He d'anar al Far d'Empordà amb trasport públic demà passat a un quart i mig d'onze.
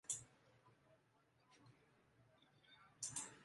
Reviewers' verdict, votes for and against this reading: rejected, 0, 2